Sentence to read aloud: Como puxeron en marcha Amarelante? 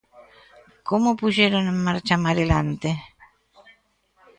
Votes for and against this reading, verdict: 1, 2, rejected